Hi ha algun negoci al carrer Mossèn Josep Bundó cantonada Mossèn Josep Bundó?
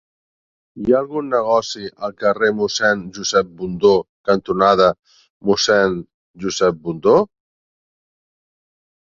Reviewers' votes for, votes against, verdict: 2, 0, accepted